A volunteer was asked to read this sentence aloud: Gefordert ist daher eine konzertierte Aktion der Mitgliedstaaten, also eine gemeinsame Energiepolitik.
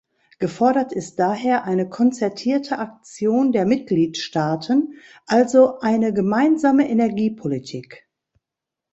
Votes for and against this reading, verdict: 2, 0, accepted